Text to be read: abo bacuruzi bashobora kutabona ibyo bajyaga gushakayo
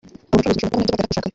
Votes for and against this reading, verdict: 1, 2, rejected